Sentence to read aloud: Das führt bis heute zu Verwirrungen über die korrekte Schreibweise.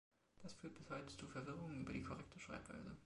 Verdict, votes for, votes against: rejected, 0, 2